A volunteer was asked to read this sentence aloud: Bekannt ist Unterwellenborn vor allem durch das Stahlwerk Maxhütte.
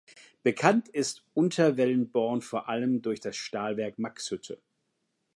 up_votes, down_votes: 2, 0